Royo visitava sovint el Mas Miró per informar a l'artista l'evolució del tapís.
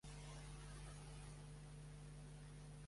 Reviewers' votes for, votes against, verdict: 1, 2, rejected